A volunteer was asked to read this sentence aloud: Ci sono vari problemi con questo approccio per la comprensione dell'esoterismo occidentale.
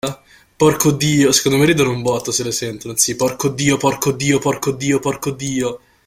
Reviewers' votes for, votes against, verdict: 0, 2, rejected